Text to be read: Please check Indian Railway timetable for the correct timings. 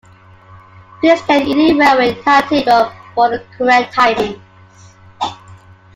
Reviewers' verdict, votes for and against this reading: rejected, 0, 2